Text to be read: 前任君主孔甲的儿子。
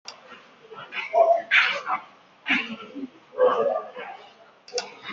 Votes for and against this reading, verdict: 0, 2, rejected